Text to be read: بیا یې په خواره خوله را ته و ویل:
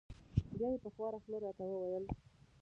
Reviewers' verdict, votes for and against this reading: rejected, 0, 2